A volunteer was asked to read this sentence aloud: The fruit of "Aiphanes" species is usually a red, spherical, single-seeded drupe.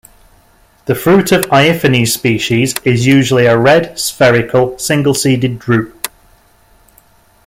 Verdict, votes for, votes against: accepted, 2, 0